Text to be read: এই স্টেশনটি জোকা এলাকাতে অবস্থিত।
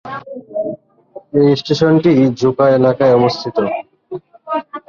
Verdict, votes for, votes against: rejected, 0, 2